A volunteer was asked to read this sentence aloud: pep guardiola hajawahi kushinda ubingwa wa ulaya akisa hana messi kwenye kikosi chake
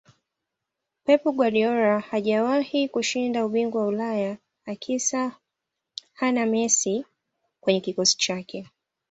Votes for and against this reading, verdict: 2, 1, accepted